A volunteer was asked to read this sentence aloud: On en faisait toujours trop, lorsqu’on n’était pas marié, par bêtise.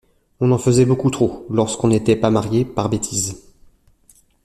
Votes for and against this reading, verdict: 0, 2, rejected